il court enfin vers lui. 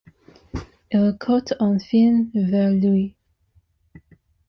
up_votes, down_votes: 2, 1